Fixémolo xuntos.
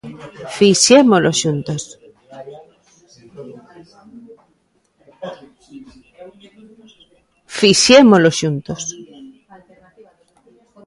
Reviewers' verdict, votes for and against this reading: rejected, 0, 2